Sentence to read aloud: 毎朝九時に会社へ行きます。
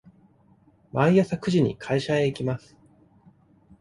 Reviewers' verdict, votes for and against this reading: rejected, 1, 2